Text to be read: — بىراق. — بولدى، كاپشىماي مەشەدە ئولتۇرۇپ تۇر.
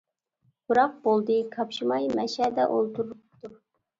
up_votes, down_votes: 1, 2